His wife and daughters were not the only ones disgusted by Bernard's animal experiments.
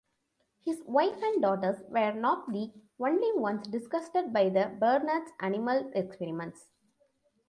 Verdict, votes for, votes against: accepted, 2, 0